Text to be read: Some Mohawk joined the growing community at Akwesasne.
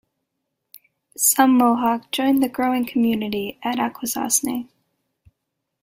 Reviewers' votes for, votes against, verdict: 0, 2, rejected